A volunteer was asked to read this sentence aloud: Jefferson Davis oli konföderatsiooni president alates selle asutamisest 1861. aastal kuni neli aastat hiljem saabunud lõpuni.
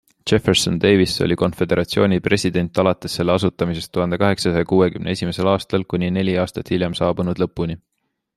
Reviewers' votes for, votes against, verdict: 0, 2, rejected